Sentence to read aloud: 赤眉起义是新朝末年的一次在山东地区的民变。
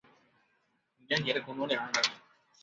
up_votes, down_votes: 1, 3